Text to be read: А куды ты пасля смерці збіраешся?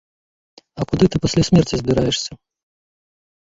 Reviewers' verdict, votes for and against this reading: rejected, 1, 2